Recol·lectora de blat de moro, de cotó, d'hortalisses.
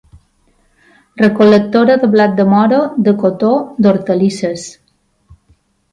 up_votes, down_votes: 2, 0